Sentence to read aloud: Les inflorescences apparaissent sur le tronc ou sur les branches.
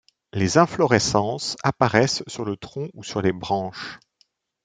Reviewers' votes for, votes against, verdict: 2, 0, accepted